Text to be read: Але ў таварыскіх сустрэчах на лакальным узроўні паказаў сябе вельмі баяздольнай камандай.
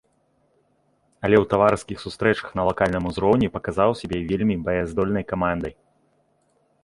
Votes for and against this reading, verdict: 1, 2, rejected